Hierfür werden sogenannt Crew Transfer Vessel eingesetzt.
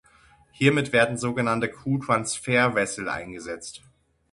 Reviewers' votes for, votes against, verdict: 0, 6, rejected